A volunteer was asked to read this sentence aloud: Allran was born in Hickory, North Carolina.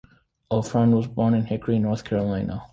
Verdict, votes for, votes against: rejected, 0, 2